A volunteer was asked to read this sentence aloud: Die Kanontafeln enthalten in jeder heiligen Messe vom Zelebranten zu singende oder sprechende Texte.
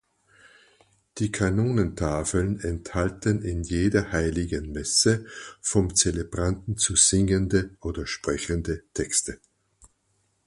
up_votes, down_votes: 2, 4